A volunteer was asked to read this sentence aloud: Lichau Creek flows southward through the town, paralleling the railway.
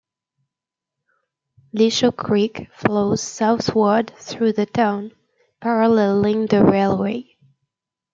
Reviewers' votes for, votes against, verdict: 2, 0, accepted